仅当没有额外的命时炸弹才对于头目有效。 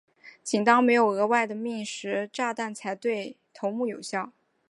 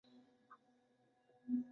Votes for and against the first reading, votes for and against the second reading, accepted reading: 2, 0, 4, 5, first